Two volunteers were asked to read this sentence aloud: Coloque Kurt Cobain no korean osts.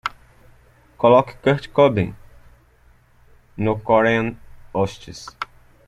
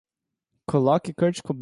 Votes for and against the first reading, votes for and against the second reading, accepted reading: 2, 0, 0, 2, first